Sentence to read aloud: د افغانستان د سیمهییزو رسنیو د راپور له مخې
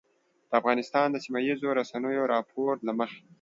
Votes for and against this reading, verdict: 2, 0, accepted